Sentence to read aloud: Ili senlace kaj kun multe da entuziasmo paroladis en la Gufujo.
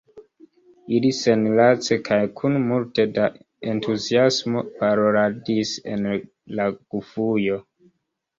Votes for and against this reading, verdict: 1, 2, rejected